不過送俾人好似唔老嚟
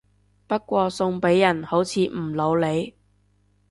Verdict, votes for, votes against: rejected, 1, 2